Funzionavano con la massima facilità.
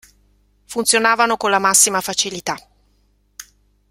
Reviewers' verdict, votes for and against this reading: accepted, 2, 0